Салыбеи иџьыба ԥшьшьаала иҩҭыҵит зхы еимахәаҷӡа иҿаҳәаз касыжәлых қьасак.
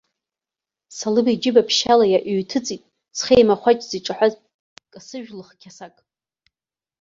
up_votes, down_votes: 1, 2